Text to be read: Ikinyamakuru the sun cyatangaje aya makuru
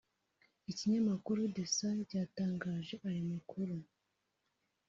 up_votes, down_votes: 0, 2